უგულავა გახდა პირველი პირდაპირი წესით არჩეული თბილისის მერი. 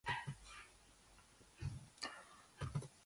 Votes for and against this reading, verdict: 0, 2, rejected